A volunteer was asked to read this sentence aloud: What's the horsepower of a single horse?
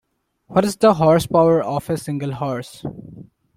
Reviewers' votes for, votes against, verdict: 2, 1, accepted